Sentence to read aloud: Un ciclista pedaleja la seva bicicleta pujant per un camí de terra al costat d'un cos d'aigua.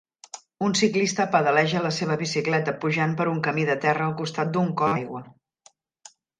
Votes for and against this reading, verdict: 1, 2, rejected